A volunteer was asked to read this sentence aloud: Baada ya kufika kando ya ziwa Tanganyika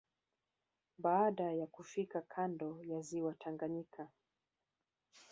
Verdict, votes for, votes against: accepted, 2, 1